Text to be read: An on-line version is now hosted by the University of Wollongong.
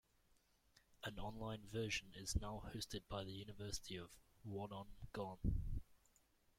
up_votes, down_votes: 0, 2